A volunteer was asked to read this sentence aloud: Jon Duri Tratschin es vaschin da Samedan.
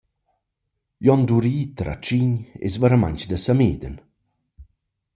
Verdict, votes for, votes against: rejected, 0, 2